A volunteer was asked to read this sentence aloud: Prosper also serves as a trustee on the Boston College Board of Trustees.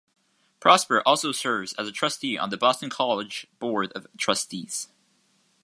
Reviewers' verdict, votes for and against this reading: accepted, 2, 0